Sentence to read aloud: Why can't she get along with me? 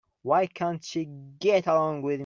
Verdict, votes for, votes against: rejected, 0, 2